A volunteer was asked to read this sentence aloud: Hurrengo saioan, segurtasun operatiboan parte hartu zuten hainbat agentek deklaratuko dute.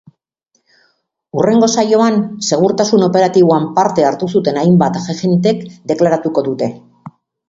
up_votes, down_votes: 2, 5